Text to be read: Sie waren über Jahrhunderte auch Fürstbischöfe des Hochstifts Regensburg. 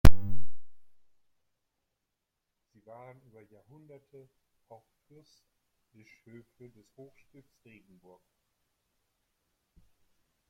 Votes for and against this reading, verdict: 0, 2, rejected